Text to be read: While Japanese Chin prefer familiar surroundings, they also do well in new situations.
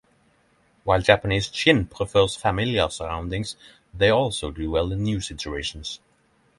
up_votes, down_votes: 3, 3